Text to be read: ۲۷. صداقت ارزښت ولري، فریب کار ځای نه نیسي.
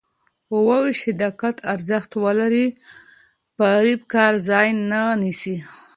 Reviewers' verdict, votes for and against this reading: rejected, 0, 2